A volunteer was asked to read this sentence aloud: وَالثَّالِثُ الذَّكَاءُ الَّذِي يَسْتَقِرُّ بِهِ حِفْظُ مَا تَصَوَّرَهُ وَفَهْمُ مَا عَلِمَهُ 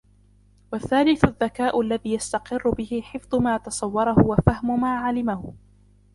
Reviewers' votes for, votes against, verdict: 0, 2, rejected